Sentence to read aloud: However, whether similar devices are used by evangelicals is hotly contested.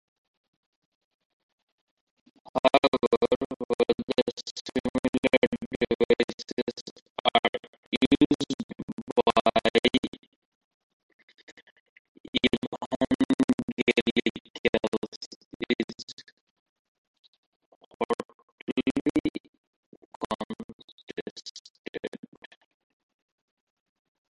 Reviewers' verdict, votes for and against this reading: rejected, 0, 2